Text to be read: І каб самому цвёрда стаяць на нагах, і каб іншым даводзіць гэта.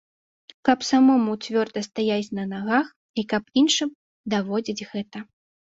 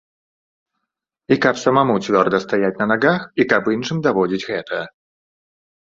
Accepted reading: second